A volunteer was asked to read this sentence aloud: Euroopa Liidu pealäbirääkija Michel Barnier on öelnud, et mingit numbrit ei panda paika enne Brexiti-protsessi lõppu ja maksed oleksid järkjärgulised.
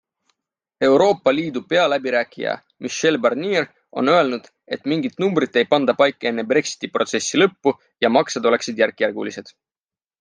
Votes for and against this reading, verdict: 4, 0, accepted